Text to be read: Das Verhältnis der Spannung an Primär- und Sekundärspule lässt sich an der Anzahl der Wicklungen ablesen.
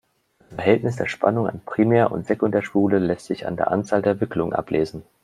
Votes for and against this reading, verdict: 2, 0, accepted